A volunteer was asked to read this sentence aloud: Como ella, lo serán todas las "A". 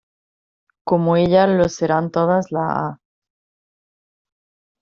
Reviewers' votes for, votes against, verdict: 1, 2, rejected